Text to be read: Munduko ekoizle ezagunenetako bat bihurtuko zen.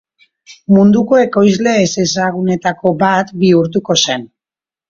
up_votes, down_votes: 1, 2